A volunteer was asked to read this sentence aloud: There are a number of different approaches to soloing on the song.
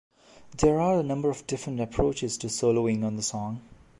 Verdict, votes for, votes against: accepted, 2, 0